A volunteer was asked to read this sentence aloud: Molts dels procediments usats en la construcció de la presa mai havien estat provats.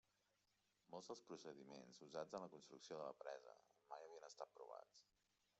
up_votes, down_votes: 1, 2